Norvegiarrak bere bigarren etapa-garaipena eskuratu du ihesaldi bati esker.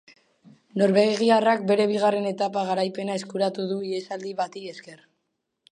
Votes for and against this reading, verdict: 2, 0, accepted